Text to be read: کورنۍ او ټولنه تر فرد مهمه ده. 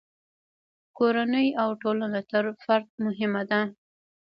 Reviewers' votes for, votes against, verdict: 1, 2, rejected